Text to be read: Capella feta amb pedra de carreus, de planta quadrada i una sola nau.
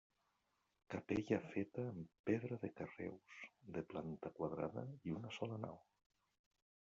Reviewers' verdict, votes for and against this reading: rejected, 1, 2